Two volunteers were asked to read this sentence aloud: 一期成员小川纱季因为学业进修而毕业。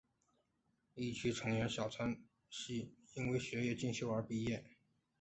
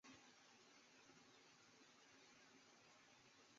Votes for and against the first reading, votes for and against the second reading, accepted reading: 5, 3, 0, 3, first